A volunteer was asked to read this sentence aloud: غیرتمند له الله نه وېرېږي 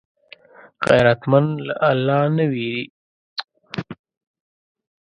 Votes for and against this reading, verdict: 1, 2, rejected